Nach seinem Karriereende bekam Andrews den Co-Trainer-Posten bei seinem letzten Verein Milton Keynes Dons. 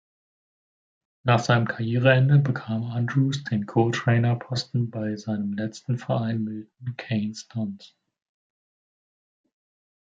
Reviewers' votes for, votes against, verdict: 0, 2, rejected